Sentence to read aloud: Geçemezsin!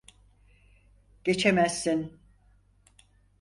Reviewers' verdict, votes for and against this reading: accepted, 4, 0